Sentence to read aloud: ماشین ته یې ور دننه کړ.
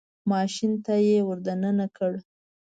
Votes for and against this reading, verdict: 2, 0, accepted